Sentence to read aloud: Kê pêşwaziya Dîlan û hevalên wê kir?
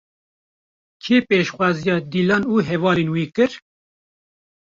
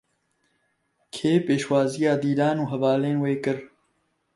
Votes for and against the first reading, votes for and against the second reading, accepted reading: 1, 2, 2, 0, second